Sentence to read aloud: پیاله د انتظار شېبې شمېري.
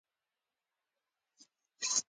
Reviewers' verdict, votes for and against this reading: accepted, 2, 1